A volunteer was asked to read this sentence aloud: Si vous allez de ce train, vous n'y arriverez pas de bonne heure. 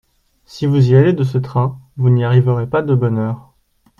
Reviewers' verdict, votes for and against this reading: rejected, 1, 2